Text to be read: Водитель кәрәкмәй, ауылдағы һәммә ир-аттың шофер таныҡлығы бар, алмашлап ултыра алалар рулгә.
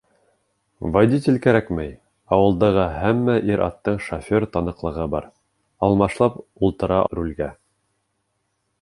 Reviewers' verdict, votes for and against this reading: rejected, 1, 2